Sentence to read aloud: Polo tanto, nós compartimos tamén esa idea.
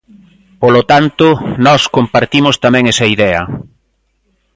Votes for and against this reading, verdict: 2, 0, accepted